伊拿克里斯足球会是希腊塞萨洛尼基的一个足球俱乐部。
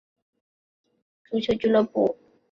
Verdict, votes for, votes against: rejected, 0, 2